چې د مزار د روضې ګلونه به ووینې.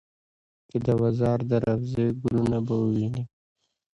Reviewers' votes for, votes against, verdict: 2, 0, accepted